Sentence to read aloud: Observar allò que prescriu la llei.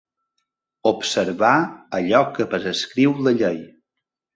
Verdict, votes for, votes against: rejected, 0, 2